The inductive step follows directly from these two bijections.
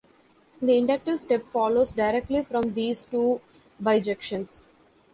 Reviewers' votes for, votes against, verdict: 2, 0, accepted